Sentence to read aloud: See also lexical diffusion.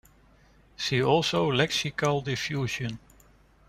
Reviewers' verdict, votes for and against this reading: rejected, 1, 2